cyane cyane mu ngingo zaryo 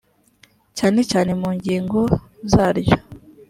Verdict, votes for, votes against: accepted, 4, 1